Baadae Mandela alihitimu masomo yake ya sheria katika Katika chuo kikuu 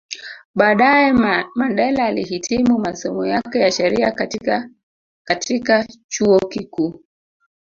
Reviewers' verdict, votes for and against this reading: rejected, 1, 2